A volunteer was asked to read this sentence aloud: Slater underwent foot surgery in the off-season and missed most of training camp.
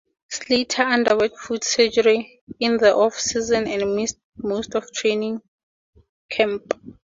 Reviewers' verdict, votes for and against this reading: accepted, 2, 0